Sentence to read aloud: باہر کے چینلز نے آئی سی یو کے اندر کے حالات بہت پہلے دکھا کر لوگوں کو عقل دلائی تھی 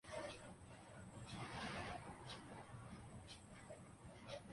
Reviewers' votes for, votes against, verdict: 0, 2, rejected